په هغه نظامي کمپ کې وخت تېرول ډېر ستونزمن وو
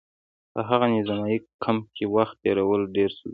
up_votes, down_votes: 2, 0